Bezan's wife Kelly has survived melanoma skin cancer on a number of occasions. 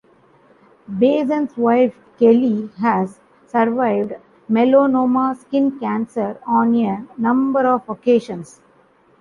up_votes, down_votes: 0, 2